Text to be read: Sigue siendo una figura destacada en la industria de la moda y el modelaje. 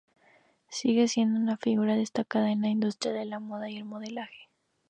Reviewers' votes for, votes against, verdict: 0, 2, rejected